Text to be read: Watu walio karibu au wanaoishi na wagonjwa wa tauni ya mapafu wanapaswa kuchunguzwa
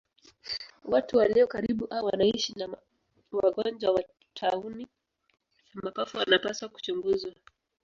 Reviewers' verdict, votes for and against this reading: rejected, 1, 2